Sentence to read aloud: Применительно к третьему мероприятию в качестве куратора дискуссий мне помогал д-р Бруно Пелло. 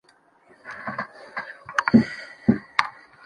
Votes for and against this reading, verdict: 0, 2, rejected